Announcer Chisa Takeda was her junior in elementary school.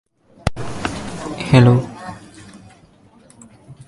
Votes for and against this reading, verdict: 0, 2, rejected